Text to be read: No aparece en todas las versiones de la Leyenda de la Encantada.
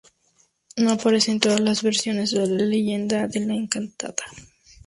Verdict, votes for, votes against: rejected, 0, 2